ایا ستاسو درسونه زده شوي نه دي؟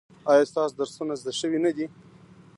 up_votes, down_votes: 1, 2